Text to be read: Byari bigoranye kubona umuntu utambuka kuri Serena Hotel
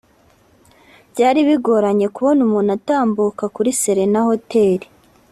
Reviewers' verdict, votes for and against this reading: accepted, 2, 0